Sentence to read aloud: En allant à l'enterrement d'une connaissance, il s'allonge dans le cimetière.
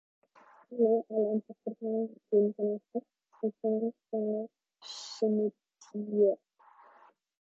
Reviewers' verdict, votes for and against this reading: rejected, 0, 2